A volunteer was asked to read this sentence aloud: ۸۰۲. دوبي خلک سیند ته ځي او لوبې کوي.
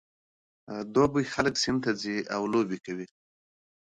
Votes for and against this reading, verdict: 0, 2, rejected